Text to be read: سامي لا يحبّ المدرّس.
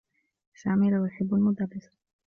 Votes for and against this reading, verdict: 1, 2, rejected